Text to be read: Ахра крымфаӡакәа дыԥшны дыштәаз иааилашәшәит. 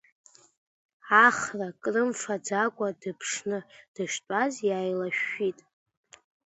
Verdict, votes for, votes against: rejected, 0, 2